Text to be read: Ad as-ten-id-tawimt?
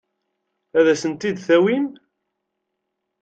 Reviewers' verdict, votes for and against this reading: rejected, 0, 2